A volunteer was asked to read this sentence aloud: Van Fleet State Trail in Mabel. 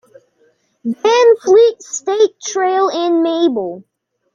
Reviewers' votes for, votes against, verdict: 2, 0, accepted